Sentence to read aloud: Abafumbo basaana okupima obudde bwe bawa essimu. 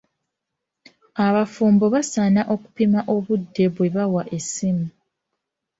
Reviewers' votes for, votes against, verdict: 0, 2, rejected